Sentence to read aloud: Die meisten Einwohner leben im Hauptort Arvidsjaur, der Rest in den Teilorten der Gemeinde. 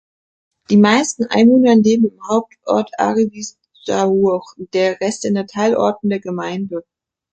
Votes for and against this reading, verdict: 1, 2, rejected